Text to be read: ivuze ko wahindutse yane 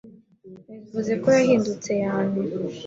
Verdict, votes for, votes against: accepted, 2, 1